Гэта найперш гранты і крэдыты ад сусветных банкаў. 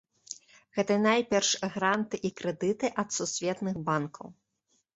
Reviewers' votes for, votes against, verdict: 1, 2, rejected